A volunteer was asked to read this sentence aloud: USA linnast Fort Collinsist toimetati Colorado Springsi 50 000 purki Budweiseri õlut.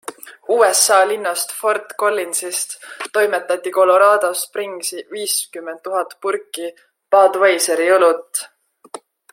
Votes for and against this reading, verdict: 0, 2, rejected